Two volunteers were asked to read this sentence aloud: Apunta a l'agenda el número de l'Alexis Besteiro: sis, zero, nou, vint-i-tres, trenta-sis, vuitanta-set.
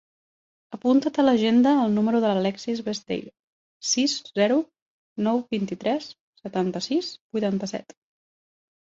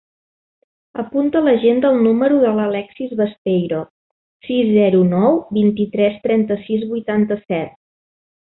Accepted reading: second